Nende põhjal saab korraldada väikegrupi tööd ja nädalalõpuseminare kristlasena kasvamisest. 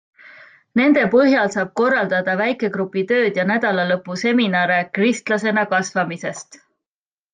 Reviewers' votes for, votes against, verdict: 2, 0, accepted